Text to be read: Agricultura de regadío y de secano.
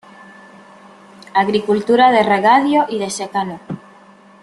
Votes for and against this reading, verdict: 0, 2, rejected